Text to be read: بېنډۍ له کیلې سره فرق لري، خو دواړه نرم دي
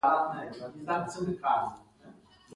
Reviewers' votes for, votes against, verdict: 2, 1, accepted